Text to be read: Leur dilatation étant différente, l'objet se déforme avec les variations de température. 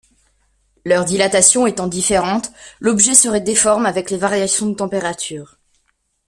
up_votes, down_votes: 0, 2